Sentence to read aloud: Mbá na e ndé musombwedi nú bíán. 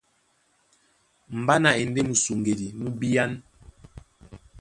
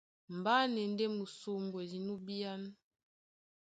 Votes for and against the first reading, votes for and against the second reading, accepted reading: 1, 2, 2, 0, second